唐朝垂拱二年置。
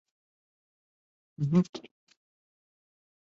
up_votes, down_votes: 2, 2